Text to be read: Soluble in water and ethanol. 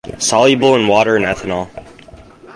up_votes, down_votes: 4, 0